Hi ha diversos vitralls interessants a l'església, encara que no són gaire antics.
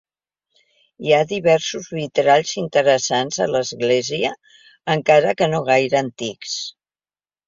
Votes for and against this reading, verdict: 1, 3, rejected